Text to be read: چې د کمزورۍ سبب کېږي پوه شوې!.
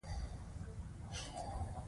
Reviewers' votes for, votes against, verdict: 1, 2, rejected